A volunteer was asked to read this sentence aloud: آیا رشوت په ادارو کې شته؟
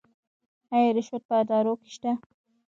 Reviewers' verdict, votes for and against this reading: rejected, 1, 2